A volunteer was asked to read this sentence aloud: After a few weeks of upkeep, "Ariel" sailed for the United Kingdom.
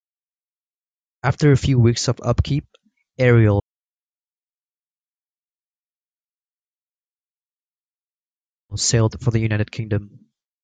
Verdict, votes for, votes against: rejected, 1, 2